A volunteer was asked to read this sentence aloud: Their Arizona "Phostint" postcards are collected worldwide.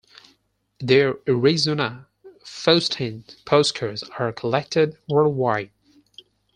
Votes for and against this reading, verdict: 0, 4, rejected